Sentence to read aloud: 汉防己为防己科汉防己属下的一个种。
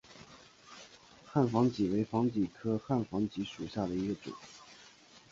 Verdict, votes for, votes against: rejected, 0, 3